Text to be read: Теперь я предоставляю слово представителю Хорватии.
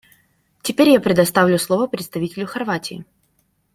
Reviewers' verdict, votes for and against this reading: rejected, 0, 2